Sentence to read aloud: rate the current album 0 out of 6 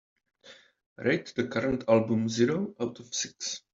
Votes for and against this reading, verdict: 0, 2, rejected